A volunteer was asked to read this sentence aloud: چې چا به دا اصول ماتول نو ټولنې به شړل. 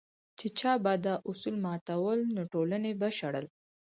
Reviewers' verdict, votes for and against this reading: accepted, 4, 2